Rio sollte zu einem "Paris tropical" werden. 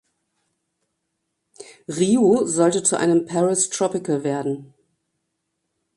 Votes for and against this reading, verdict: 2, 0, accepted